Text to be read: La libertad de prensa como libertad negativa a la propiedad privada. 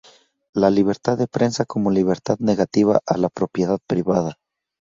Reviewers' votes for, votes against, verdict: 2, 0, accepted